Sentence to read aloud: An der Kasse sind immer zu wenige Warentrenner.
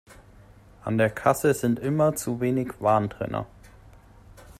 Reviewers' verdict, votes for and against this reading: rejected, 0, 2